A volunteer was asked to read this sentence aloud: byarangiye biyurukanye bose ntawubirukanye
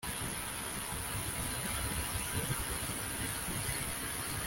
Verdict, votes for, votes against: rejected, 0, 2